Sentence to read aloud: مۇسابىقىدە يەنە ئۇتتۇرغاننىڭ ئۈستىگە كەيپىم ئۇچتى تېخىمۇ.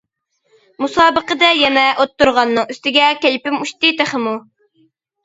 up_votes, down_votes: 1, 2